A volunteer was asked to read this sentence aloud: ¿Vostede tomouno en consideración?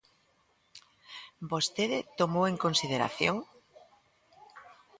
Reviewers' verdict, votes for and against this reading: rejected, 0, 2